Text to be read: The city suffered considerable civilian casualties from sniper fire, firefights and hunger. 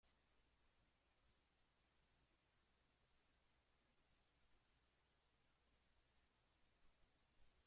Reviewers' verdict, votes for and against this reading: rejected, 0, 2